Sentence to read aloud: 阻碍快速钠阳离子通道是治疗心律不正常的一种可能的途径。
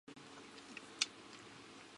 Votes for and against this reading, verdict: 1, 3, rejected